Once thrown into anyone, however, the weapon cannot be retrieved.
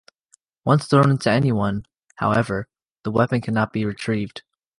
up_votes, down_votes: 2, 0